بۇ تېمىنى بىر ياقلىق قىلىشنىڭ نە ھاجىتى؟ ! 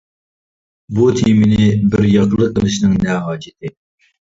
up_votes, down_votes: 2, 0